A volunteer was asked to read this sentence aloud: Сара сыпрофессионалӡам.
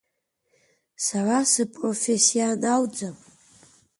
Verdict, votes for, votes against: accepted, 2, 1